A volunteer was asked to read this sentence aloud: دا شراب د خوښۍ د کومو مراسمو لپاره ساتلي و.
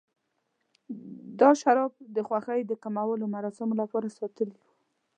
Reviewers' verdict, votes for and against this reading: rejected, 1, 2